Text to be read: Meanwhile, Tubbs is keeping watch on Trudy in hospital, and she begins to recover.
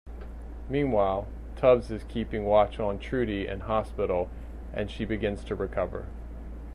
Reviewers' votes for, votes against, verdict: 2, 0, accepted